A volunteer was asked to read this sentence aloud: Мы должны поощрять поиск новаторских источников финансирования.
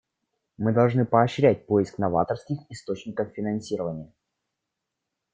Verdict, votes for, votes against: rejected, 1, 2